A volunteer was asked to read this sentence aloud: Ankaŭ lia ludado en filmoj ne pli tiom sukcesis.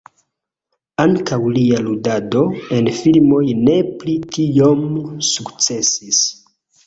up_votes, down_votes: 2, 0